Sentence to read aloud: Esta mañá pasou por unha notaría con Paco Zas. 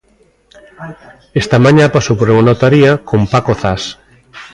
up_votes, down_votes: 2, 0